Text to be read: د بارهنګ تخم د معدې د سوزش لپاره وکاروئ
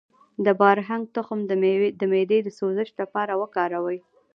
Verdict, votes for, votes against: rejected, 0, 2